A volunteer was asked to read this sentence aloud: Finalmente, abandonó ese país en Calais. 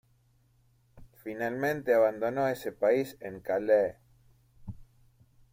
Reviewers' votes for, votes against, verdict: 2, 1, accepted